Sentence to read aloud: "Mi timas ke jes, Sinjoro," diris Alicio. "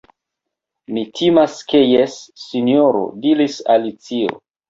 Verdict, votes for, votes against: accepted, 2, 0